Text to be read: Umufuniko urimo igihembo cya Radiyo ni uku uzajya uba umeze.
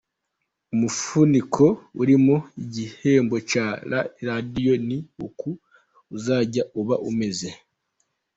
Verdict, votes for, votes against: rejected, 1, 2